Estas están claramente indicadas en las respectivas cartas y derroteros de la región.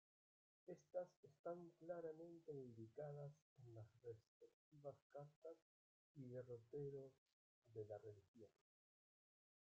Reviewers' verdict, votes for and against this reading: rejected, 0, 2